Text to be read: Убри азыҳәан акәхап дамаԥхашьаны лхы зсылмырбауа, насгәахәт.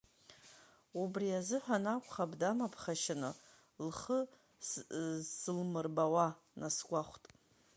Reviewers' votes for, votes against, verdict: 0, 2, rejected